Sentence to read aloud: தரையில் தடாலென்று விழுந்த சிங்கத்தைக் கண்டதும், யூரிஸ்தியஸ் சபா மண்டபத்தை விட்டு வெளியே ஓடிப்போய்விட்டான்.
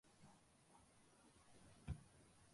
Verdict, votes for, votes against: rejected, 0, 2